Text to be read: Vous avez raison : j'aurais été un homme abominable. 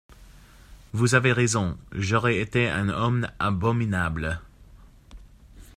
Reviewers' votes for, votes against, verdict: 1, 2, rejected